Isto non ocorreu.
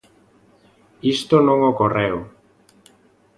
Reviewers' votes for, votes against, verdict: 2, 0, accepted